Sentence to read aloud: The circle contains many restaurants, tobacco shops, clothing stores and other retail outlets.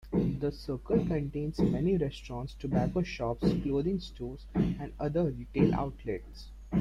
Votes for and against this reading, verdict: 0, 2, rejected